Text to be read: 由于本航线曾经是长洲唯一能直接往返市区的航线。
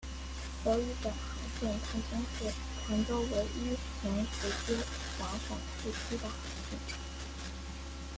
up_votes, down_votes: 0, 2